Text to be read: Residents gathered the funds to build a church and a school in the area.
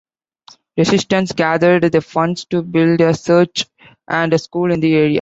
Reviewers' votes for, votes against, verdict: 0, 2, rejected